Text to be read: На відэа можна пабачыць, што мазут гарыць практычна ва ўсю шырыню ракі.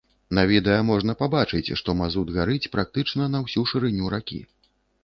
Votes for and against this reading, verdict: 1, 2, rejected